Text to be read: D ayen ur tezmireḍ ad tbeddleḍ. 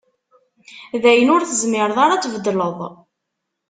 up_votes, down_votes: 1, 2